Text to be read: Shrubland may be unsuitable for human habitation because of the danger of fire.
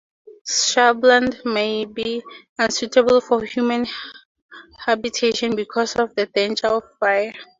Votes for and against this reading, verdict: 2, 0, accepted